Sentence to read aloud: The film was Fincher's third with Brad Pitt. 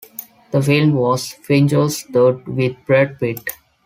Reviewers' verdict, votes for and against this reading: accepted, 2, 0